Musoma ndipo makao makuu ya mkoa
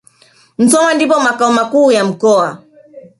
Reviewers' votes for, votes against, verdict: 3, 0, accepted